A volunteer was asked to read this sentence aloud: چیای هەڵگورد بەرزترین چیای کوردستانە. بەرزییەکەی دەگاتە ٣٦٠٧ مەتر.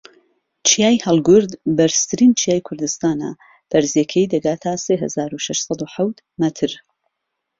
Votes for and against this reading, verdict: 0, 2, rejected